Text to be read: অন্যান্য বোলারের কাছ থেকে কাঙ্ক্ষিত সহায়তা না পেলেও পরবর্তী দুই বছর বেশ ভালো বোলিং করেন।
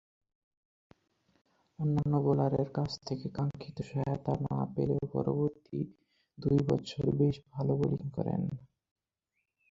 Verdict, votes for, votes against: rejected, 0, 4